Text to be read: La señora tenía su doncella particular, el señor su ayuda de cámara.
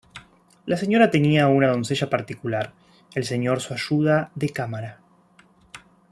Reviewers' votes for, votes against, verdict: 0, 3, rejected